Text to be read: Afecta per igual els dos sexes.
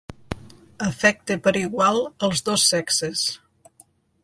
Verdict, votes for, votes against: accepted, 2, 0